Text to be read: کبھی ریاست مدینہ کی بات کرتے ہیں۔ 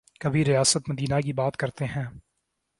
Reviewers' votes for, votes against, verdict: 2, 0, accepted